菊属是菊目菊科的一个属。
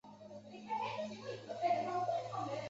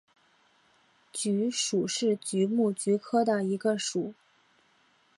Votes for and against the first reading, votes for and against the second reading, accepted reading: 0, 2, 7, 0, second